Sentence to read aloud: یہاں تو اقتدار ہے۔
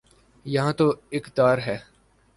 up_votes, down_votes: 6, 3